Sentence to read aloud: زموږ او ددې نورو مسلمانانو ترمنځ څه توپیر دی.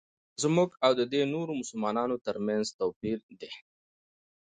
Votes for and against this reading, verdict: 2, 0, accepted